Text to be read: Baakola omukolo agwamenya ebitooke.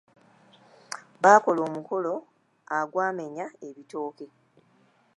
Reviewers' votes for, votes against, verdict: 0, 2, rejected